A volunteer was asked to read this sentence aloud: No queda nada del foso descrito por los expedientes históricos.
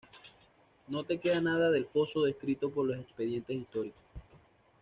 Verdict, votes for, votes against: accepted, 2, 1